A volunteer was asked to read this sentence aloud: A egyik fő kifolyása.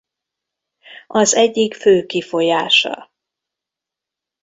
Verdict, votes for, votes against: rejected, 0, 2